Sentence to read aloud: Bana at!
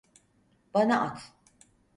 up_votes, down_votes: 4, 0